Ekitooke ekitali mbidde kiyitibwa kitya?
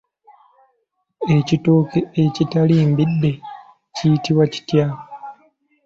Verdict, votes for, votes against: accepted, 2, 0